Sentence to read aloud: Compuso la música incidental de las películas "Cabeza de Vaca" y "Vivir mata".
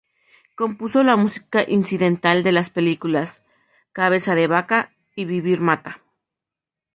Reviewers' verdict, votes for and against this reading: accepted, 2, 0